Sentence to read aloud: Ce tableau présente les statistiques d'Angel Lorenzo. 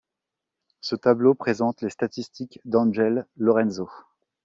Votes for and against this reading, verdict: 2, 0, accepted